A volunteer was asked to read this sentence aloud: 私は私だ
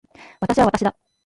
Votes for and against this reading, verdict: 0, 2, rejected